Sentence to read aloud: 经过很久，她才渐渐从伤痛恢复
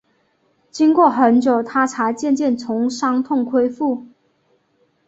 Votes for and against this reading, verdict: 2, 0, accepted